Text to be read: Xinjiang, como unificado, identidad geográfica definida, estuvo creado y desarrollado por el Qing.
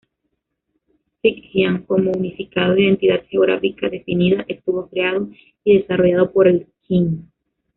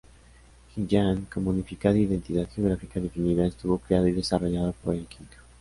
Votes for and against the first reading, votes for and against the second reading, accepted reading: 1, 2, 2, 1, second